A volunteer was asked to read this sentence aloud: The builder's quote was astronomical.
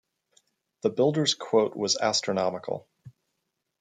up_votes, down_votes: 2, 0